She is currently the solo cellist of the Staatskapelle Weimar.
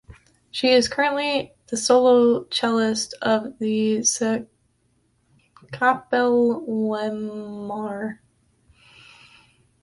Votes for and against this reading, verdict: 0, 2, rejected